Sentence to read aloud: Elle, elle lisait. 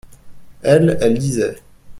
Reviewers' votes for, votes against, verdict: 2, 0, accepted